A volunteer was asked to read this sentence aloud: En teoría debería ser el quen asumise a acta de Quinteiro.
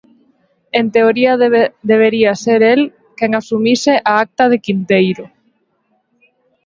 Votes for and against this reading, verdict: 1, 2, rejected